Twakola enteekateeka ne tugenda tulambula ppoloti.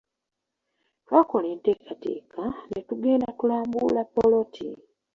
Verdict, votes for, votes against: rejected, 0, 3